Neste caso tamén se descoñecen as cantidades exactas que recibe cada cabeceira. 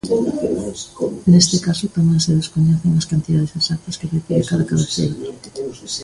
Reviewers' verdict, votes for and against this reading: rejected, 0, 2